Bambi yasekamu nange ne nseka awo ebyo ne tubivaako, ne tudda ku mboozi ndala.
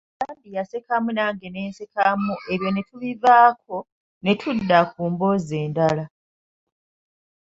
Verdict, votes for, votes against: rejected, 1, 2